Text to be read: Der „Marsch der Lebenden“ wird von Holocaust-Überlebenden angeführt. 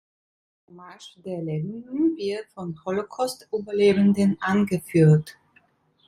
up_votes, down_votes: 1, 2